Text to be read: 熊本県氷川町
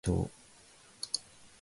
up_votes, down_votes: 0, 2